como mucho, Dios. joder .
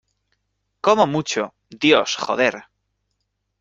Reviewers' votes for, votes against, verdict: 2, 0, accepted